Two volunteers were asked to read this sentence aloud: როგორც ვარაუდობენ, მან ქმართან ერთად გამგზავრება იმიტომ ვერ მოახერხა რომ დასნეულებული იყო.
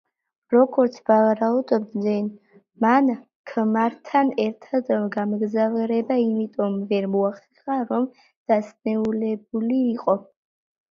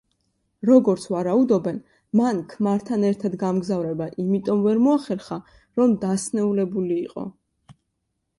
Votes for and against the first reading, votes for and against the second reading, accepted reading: 0, 2, 2, 0, second